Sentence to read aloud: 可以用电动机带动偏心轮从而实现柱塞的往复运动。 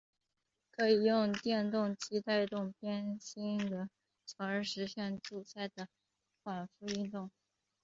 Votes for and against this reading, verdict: 2, 1, accepted